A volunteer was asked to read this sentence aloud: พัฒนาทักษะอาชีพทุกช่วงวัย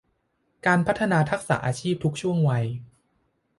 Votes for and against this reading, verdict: 0, 2, rejected